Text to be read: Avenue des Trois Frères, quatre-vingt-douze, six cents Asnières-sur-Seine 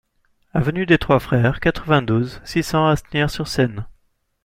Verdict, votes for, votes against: accepted, 2, 0